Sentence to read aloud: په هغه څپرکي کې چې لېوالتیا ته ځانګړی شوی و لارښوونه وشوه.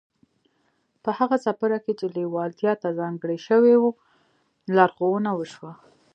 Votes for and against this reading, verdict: 2, 1, accepted